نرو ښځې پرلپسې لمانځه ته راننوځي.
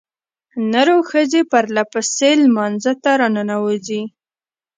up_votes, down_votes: 1, 2